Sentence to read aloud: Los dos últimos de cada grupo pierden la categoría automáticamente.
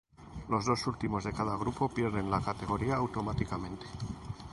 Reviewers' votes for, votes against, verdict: 2, 0, accepted